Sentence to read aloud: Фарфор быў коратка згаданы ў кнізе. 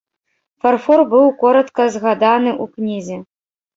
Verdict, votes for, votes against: rejected, 1, 2